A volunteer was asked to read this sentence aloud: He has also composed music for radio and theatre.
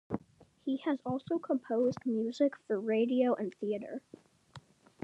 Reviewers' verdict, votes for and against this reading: accepted, 2, 0